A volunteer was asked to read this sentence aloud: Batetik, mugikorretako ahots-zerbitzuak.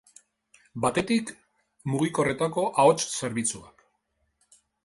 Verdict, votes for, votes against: accepted, 2, 0